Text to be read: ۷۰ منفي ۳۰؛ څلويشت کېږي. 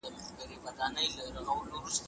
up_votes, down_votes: 0, 2